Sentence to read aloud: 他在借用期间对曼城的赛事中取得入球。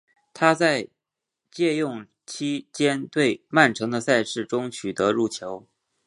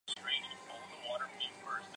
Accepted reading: first